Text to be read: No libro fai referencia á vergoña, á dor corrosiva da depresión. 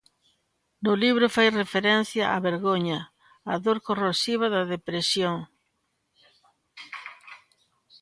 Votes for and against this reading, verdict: 2, 1, accepted